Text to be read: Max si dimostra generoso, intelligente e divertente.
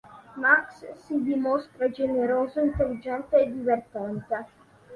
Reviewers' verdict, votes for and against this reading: accepted, 3, 0